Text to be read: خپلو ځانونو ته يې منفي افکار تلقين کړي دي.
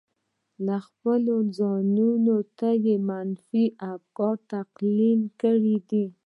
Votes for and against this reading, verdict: 1, 2, rejected